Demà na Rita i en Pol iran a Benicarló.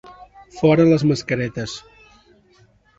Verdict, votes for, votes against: rejected, 0, 2